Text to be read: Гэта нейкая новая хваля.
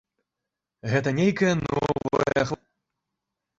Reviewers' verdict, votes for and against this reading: rejected, 0, 2